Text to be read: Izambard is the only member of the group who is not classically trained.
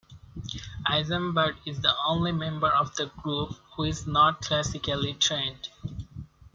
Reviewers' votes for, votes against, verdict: 2, 1, accepted